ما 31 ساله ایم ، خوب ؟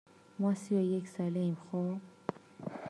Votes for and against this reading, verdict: 0, 2, rejected